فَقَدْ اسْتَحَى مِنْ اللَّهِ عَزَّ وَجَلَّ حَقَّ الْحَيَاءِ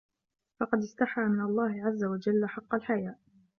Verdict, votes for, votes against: accepted, 2, 0